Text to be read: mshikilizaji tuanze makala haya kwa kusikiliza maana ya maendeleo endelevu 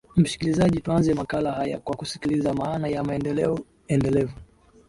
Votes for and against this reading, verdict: 2, 1, accepted